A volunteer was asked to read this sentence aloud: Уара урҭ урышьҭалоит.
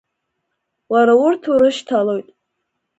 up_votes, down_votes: 2, 0